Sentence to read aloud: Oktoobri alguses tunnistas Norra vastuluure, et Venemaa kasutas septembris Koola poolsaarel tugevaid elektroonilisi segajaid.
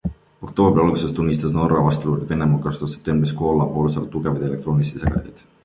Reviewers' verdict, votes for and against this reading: accepted, 2, 1